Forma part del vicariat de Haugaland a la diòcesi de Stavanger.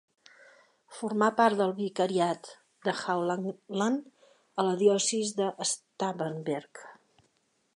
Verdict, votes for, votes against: rejected, 0, 3